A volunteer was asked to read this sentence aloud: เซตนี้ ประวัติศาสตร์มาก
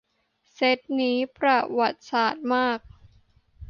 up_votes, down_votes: 2, 0